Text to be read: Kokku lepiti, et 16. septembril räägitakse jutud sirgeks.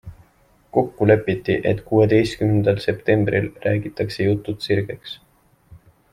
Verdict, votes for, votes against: rejected, 0, 2